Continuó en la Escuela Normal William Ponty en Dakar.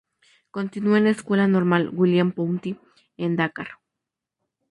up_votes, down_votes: 0, 2